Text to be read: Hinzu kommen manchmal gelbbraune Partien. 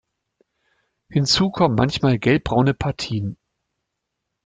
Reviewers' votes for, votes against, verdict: 2, 0, accepted